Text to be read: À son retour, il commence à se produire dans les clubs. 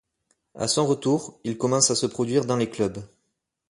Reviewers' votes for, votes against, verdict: 2, 0, accepted